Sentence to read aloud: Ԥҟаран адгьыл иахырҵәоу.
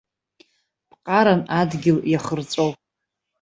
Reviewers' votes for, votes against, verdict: 0, 2, rejected